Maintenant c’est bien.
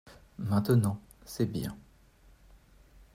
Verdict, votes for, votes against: accepted, 2, 0